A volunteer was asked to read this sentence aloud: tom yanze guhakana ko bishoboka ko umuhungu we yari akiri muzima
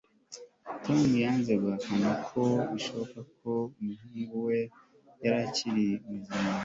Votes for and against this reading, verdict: 2, 0, accepted